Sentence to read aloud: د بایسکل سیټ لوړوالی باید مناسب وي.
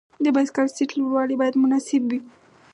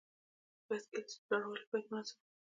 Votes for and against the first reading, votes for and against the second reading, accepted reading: 4, 0, 1, 2, first